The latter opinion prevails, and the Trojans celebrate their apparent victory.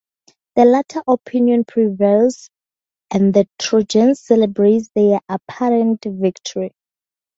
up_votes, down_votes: 4, 0